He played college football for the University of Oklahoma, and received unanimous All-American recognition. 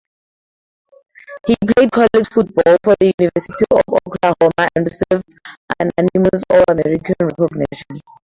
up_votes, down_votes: 0, 2